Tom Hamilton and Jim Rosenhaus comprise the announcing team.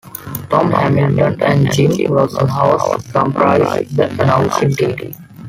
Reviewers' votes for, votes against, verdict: 0, 2, rejected